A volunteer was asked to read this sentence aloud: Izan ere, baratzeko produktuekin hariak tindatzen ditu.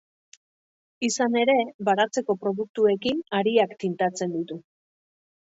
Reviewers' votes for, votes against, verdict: 1, 2, rejected